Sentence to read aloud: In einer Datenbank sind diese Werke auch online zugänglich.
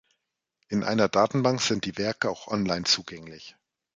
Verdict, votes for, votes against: rejected, 0, 2